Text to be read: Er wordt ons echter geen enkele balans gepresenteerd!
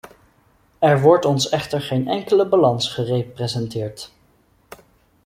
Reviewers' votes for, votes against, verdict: 0, 2, rejected